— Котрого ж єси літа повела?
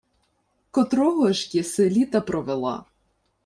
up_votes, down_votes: 0, 2